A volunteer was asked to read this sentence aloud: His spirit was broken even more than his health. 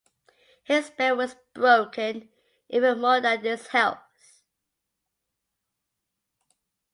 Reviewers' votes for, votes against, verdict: 0, 2, rejected